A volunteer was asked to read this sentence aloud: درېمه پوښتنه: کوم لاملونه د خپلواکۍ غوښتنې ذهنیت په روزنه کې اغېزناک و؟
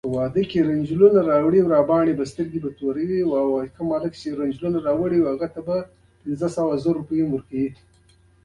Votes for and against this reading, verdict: 0, 2, rejected